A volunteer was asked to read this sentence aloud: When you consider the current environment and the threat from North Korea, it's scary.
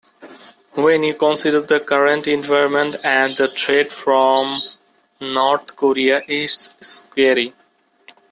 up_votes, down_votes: 0, 2